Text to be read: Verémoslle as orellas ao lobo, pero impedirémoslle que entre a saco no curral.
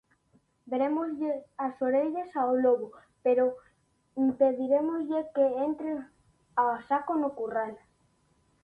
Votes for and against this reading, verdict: 2, 0, accepted